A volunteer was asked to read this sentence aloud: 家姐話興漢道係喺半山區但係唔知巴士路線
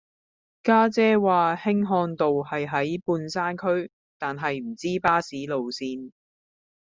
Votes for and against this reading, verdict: 2, 0, accepted